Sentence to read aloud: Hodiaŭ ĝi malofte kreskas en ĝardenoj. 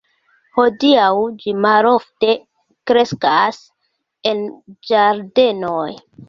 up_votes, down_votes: 2, 0